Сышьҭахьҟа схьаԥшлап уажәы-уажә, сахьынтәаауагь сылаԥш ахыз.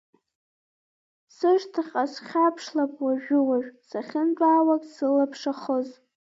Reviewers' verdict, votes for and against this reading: rejected, 1, 2